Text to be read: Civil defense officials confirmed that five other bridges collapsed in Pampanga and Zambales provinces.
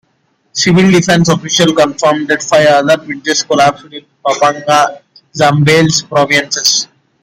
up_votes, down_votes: 0, 2